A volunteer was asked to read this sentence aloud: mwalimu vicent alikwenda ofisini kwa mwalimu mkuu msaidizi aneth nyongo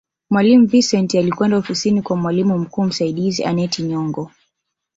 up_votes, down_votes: 1, 2